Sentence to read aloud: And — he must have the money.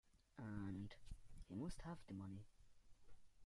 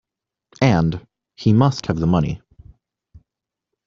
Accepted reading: second